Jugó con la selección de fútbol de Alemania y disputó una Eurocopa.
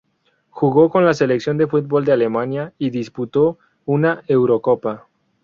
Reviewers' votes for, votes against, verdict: 2, 0, accepted